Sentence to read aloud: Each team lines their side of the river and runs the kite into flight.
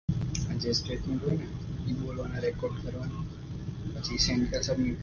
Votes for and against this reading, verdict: 0, 2, rejected